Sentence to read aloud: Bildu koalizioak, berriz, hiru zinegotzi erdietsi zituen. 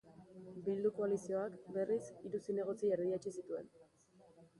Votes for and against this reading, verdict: 2, 0, accepted